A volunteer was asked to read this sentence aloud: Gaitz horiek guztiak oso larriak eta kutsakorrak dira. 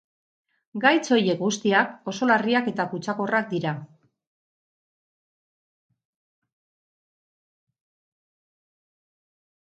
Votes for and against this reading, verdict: 0, 2, rejected